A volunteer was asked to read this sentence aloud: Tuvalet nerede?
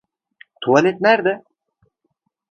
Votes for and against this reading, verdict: 2, 0, accepted